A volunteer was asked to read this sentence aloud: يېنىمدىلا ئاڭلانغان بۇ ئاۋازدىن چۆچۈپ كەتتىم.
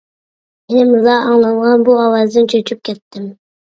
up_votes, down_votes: 1, 2